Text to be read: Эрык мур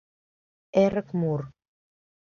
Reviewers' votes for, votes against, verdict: 2, 0, accepted